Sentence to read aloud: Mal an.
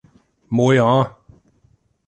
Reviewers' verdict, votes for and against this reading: rejected, 0, 2